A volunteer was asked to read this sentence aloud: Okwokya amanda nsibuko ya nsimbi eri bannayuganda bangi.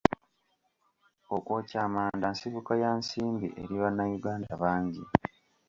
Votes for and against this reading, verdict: 3, 0, accepted